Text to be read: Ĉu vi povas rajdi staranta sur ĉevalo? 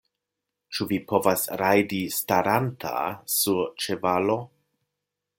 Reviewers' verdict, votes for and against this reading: accepted, 2, 0